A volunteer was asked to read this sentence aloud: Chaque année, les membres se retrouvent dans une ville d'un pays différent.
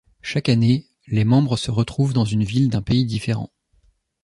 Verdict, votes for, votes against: accepted, 2, 0